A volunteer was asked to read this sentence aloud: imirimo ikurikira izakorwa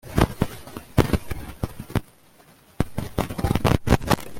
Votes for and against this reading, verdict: 0, 2, rejected